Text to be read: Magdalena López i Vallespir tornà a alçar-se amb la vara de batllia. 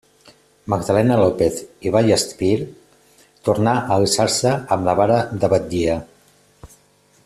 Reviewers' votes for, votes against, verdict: 2, 0, accepted